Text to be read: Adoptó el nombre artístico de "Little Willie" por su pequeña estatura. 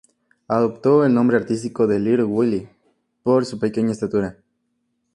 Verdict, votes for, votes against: accepted, 2, 0